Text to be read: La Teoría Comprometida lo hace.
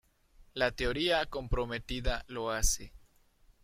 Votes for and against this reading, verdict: 3, 1, accepted